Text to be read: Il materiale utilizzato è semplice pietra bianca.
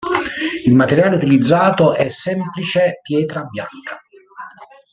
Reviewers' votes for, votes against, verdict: 1, 3, rejected